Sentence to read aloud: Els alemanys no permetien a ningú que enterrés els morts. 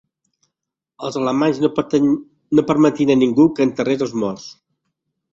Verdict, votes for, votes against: rejected, 0, 2